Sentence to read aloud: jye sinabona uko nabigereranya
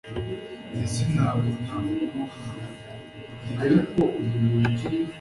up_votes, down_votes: 1, 2